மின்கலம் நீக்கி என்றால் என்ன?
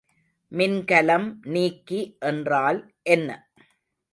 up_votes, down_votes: 2, 0